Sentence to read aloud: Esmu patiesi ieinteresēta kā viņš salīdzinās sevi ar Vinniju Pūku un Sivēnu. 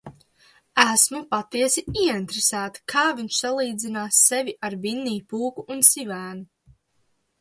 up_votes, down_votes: 2, 0